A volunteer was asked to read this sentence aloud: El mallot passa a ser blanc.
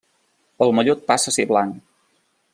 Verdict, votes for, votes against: accepted, 2, 0